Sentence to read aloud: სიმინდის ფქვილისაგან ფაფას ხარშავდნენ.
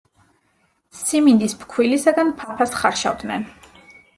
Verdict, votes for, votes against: accepted, 2, 0